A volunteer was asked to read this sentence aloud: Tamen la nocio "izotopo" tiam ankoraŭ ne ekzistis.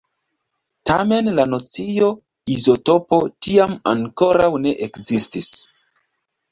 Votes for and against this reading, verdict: 1, 2, rejected